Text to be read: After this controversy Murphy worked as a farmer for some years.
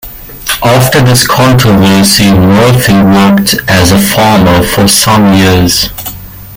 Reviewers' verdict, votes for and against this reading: accepted, 2, 0